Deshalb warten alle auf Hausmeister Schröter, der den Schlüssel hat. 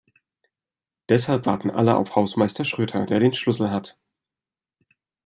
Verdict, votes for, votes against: accepted, 2, 0